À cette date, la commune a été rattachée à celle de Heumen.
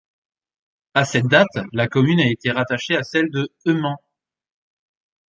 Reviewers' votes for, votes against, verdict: 0, 2, rejected